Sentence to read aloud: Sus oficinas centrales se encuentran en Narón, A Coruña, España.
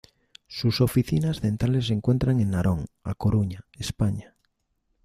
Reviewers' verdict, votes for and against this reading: accepted, 2, 0